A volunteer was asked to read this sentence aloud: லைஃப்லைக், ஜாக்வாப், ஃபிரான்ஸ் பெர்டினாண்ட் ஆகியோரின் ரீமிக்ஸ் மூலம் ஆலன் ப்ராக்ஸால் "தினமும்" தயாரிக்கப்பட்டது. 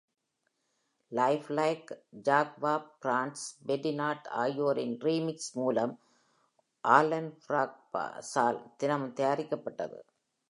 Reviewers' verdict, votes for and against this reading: rejected, 1, 2